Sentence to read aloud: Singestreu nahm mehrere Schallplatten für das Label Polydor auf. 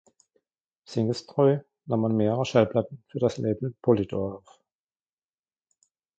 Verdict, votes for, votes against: rejected, 1, 2